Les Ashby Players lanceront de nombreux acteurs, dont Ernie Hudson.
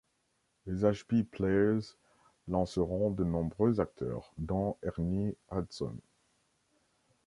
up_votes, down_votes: 2, 0